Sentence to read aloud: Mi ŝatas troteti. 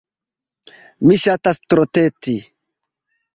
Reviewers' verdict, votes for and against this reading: accepted, 2, 0